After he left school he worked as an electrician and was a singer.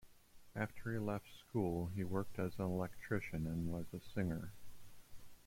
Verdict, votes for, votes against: accepted, 2, 1